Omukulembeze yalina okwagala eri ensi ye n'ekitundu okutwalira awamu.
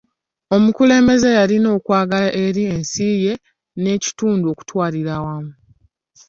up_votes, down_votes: 2, 0